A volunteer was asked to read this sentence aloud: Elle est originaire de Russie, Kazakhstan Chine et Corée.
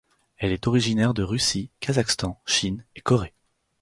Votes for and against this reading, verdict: 4, 0, accepted